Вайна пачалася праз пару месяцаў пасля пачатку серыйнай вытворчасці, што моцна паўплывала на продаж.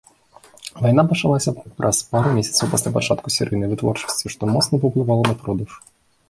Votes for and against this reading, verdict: 0, 2, rejected